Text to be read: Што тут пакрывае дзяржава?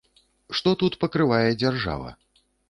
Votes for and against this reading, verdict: 2, 0, accepted